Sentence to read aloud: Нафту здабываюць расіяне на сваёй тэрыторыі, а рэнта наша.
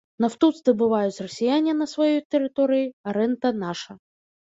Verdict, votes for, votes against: rejected, 1, 2